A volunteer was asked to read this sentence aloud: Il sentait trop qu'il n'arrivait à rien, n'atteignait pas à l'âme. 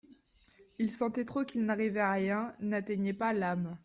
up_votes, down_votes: 0, 2